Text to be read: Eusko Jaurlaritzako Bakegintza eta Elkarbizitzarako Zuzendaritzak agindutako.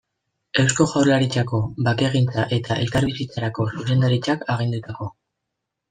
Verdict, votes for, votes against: rejected, 1, 2